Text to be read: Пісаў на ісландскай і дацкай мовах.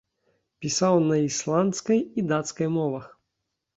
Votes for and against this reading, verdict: 2, 0, accepted